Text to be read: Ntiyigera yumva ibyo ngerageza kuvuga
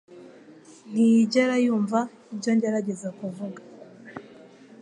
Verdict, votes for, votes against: accepted, 2, 0